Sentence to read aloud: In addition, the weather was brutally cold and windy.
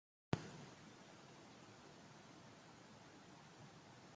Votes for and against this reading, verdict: 0, 2, rejected